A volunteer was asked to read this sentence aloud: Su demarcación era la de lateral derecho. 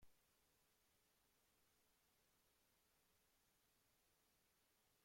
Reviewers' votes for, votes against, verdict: 0, 2, rejected